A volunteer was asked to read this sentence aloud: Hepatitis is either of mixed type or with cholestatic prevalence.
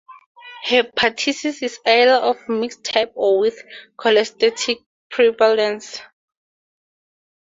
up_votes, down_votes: 2, 2